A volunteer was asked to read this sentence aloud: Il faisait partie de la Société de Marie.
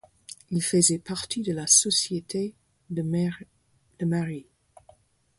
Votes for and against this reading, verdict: 2, 4, rejected